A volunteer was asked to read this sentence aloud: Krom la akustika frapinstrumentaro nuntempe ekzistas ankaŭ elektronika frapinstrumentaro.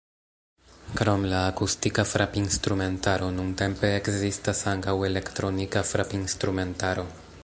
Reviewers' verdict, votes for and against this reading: rejected, 1, 2